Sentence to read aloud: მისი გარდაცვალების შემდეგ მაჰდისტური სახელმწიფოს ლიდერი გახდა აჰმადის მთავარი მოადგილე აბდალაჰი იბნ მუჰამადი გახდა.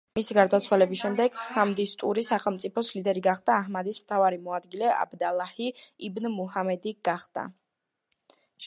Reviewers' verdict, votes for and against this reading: accepted, 2, 1